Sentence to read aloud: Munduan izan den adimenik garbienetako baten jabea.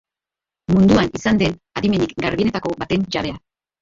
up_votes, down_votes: 0, 2